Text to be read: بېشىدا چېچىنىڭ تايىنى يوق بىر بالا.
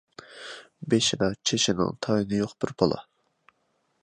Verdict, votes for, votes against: accepted, 2, 0